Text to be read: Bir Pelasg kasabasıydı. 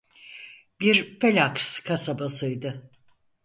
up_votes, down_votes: 2, 4